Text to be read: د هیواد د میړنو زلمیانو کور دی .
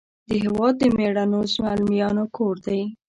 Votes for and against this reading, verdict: 2, 0, accepted